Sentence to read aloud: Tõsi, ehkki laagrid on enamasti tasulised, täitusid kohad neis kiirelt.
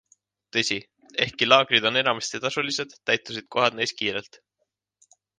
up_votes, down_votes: 3, 0